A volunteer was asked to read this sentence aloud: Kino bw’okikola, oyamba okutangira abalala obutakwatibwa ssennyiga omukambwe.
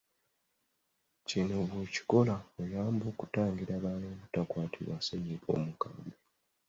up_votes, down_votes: 2, 1